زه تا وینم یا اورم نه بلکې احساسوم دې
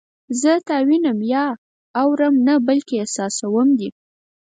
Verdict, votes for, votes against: accepted, 4, 0